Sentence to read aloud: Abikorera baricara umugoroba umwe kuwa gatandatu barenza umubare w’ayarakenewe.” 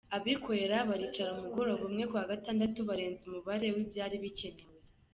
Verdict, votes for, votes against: rejected, 0, 2